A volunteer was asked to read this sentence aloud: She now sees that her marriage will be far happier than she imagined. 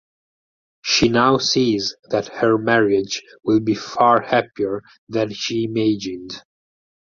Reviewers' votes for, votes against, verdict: 0, 2, rejected